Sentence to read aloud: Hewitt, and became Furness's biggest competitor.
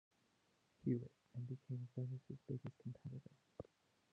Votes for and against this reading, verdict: 0, 2, rejected